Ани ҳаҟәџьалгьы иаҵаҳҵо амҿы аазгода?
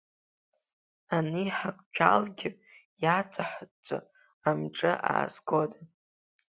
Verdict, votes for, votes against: rejected, 0, 2